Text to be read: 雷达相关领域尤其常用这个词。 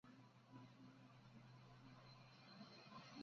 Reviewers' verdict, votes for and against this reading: rejected, 0, 2